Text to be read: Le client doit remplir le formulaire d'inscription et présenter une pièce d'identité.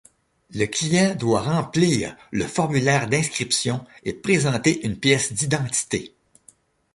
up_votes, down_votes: 2, 0